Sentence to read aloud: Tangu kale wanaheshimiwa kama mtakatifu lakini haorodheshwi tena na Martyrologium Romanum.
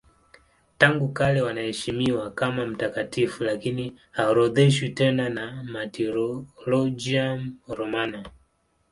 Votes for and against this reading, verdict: 3, 3, rejected